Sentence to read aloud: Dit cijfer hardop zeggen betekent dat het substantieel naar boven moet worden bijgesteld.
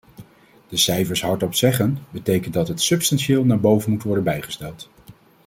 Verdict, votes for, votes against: rejected, 0, 2